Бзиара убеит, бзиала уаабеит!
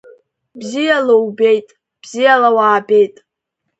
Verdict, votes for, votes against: rejected, 1, 2